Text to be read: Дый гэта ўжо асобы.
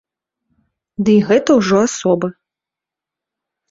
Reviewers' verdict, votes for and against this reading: accepted, 2, 0